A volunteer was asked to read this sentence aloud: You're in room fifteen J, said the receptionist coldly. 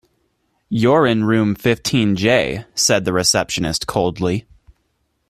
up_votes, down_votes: 2, 0